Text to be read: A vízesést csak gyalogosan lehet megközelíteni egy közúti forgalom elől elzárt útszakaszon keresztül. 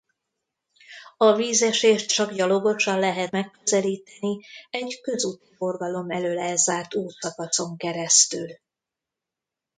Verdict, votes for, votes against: rejected, 1, 2